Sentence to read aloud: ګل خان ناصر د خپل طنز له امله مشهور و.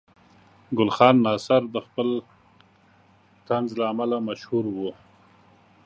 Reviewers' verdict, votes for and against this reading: accepted, 2, 0